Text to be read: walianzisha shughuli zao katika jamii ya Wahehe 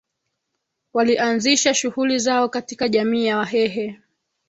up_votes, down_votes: 1, 2